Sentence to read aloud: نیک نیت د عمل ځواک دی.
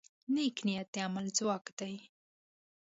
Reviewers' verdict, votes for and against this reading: accepted, 2, 0